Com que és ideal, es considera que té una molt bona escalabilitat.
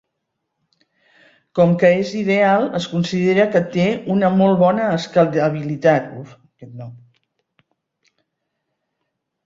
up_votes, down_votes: 0, 2